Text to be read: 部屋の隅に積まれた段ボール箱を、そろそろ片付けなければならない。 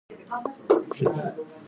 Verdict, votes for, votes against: rejected, 0, 2